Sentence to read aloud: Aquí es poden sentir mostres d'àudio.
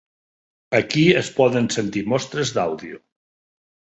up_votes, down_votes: 4, 0